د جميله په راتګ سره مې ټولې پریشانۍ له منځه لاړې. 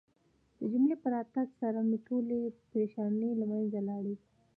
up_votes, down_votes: 2, 0